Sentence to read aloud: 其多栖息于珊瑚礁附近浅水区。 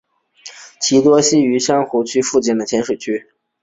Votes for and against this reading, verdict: 1, 2, rejected